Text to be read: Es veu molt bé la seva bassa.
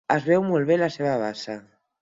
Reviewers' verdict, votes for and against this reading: accepted, 8, 0